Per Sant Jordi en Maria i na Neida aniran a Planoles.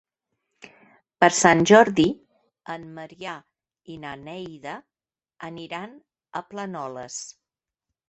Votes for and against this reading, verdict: 0, 2, rejected